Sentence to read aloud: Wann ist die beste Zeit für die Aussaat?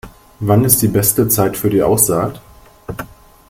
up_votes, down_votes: 2, 0